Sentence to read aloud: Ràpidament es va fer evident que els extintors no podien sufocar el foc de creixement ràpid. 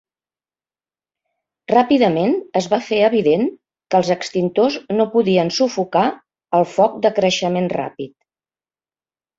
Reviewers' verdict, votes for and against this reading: accepted, 3, 0